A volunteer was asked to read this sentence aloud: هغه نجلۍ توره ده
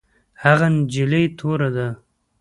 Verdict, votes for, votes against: accepted, 2, 0